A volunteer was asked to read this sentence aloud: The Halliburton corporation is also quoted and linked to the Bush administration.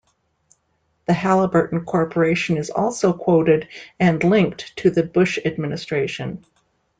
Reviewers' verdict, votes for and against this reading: accepted, 2, 0